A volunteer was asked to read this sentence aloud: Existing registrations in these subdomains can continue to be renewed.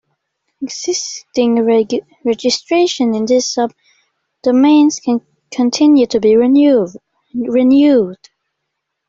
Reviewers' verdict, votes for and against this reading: rejected, 1, 2